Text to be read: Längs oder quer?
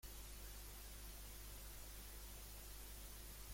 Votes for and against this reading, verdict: 0, 2, rejected